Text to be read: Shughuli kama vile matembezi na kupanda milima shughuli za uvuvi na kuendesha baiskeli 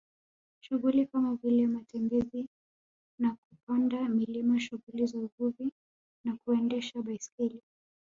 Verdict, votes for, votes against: rejected, 1, 2